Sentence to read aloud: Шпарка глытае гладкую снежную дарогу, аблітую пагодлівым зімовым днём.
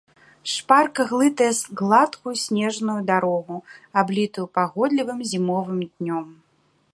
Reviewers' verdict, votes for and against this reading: rejected, 1, 2